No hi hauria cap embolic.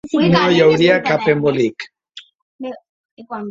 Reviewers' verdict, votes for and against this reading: rejected, 1, 2